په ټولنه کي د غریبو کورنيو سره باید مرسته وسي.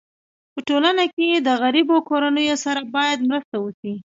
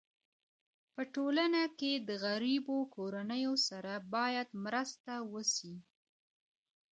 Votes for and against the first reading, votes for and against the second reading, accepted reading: 2, 1, 0, 2, first